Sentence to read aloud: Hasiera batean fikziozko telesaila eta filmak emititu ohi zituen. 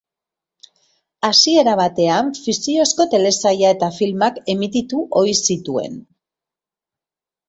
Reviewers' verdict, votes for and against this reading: accepted, 4, 1